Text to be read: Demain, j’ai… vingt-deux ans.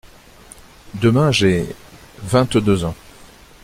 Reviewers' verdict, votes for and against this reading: accepted, 2, 0